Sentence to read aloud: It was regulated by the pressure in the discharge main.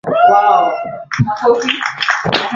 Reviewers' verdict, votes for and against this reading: rejected, 0, 2